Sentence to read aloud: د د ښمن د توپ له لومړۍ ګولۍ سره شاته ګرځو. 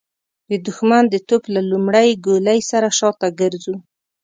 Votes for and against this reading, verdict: 2, 0, accepted